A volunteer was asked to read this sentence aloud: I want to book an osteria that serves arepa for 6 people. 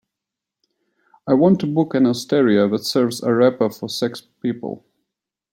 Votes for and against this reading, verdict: 0, 2, rejected